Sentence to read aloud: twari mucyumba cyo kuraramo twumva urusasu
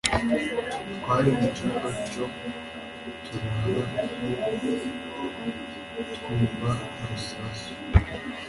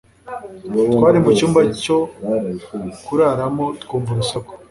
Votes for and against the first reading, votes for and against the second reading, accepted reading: 1, 2, 2, 0, second